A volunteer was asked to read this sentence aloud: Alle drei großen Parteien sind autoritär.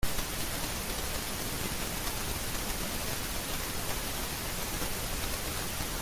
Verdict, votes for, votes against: rejected, 0, 2